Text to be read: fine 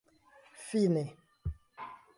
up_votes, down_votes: 2, 0